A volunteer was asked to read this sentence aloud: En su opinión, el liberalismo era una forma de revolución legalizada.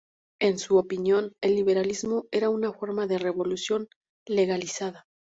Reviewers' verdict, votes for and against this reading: accepted, 2, 0